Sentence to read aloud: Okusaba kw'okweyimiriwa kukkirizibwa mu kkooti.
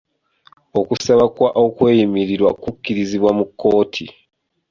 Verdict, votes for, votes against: accepted, 3, 1